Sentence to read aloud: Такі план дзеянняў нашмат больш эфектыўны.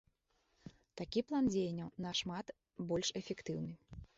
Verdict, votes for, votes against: accepted, 2, 0